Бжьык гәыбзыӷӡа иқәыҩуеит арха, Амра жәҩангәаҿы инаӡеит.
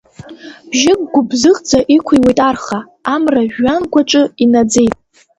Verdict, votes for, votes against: accepted, 3, 1